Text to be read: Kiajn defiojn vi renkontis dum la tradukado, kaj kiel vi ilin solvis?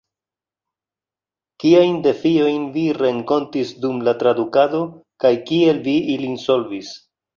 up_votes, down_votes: 2, 0